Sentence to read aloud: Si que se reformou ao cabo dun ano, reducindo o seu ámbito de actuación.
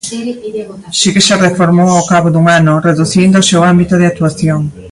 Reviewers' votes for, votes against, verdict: 1, 2, rejected